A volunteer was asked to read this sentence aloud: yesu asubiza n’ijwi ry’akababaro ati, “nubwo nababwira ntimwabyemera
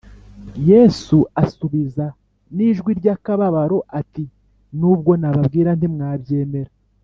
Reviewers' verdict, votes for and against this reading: accepted, 2, 0